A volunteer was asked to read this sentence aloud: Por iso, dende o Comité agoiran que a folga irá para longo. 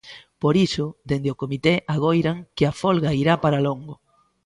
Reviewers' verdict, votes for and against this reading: accepted, 2, 0